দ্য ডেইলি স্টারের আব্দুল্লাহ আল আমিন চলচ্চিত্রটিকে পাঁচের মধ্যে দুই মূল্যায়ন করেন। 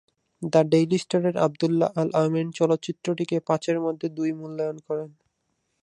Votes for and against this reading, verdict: 2, 2, rejected